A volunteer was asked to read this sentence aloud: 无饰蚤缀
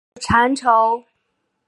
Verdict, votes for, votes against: rejected, 1, 2